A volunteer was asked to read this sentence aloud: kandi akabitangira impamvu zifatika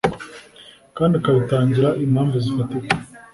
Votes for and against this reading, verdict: 3, 0, accepted